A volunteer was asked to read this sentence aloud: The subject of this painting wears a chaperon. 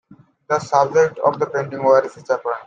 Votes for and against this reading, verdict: 0, 2, rejected